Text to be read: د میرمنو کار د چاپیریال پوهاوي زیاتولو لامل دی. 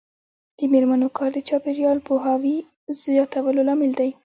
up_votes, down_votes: 2, 1